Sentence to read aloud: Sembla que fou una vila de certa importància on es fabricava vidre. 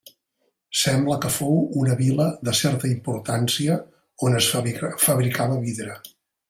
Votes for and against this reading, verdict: 1, 2, rejected